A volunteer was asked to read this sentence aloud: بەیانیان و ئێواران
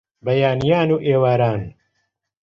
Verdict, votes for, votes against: accepted, 2, 0